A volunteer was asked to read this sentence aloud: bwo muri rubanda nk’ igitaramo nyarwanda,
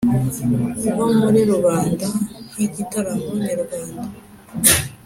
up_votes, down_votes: 2, 0